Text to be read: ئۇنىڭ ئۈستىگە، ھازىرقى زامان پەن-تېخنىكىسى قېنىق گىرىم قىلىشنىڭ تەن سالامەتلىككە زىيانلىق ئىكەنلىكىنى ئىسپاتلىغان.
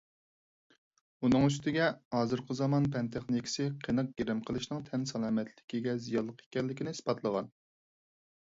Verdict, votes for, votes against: rejected, 2, 4